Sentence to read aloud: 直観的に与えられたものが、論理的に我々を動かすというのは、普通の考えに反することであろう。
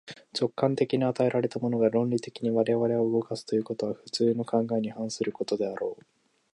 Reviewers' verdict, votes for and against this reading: rejected, 0, 2